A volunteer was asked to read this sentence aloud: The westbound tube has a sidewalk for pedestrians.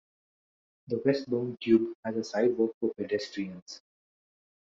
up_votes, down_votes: 2, 0